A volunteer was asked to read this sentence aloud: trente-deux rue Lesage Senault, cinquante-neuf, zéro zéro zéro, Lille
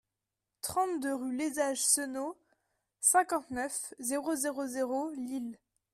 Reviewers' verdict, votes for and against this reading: rejected, 1, 2